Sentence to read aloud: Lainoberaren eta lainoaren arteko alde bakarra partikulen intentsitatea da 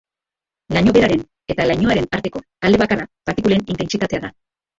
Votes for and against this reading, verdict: 0, 2, rejected